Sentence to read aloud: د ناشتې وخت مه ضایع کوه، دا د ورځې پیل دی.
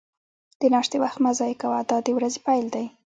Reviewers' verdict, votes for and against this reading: rejected, 1, 2